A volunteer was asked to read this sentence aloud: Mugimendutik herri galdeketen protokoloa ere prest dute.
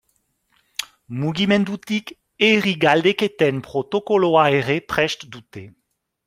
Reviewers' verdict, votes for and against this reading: accepted, 2, 0